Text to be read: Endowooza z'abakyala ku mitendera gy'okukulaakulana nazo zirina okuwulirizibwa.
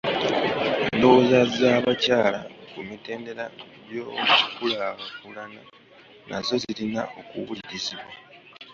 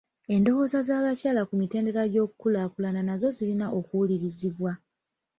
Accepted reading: second